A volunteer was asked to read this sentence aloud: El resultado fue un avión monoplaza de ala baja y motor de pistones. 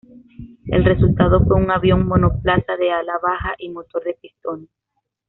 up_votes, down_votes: 0, 2